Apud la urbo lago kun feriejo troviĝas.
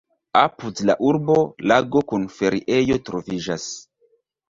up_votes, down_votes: 2, 0